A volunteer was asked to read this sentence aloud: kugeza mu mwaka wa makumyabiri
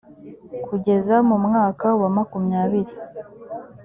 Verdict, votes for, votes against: accepted, 3, 0